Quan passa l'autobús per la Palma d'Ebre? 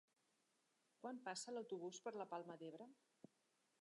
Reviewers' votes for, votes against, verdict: 1, 3, rejected